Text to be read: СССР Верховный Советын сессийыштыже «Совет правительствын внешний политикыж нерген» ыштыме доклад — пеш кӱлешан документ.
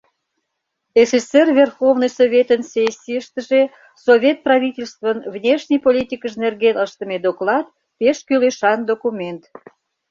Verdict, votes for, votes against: accepted, 2, 0